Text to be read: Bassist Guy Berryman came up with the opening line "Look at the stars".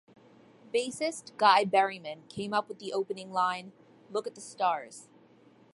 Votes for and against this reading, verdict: 2, 0, accepted